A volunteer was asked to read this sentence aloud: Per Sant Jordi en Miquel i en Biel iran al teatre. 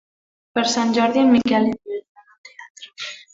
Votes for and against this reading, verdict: 1, 2, rejected